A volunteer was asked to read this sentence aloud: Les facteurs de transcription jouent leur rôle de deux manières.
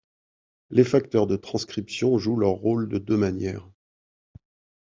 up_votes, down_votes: 2, 0